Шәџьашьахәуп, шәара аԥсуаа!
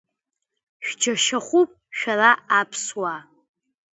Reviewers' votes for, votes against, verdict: 1, 2, rejected